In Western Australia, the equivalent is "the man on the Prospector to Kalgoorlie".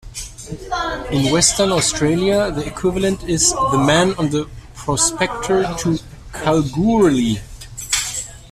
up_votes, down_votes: 0, 2